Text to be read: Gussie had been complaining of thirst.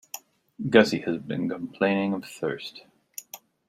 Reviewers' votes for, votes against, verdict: 2, 1, accepted